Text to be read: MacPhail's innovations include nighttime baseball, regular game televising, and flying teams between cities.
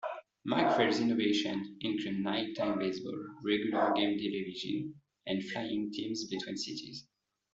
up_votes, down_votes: 0, 2